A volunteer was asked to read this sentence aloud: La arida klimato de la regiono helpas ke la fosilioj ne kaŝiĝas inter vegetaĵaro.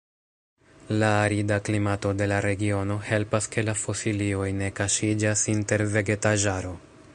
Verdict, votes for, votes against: rejected, 0, 2